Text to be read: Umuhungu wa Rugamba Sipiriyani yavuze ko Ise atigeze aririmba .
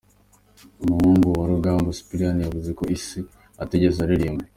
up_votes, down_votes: 2, 1